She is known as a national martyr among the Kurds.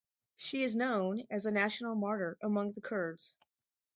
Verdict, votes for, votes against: rejected, 2, 2